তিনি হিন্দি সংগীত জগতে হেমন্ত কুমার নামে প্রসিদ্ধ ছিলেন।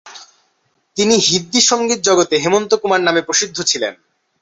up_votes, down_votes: 2, 0